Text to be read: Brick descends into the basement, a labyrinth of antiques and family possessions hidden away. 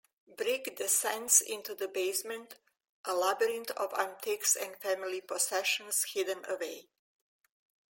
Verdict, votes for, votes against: accepted, 2, 0